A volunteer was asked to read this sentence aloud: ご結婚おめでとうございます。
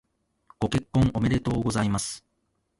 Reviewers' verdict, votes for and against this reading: accepted, 2, 0